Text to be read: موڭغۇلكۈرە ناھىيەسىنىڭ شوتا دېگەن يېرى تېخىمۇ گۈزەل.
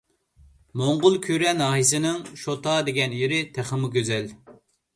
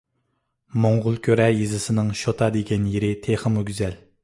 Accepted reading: first